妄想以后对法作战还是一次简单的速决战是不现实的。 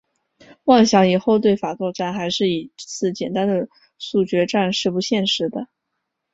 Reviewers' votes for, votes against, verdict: 4, 0, accepted